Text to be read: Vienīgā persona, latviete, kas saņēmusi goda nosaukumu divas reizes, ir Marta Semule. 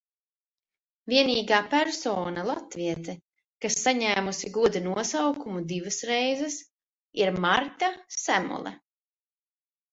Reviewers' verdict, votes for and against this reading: accepted, 2, 0